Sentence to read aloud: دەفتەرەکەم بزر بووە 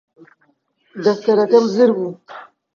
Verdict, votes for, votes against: rejected, 1, 2